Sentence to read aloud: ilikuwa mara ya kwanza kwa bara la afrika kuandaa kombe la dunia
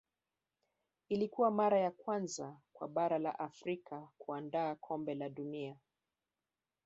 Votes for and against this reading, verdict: 1, 2, rejected